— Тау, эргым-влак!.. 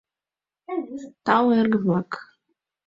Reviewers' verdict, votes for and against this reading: accepted, 2, 0